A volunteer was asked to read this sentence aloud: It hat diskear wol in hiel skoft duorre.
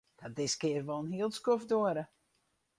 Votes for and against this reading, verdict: 0, 2, rejected